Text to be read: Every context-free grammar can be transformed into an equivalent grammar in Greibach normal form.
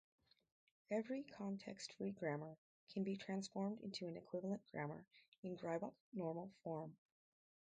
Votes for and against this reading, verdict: 2, 2, rejected